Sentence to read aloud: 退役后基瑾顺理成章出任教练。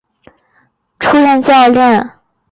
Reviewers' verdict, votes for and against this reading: rejected, 0, 2